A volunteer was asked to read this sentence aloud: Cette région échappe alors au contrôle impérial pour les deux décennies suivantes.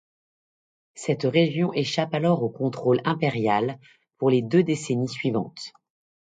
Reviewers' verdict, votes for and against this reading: accepted, 2, 0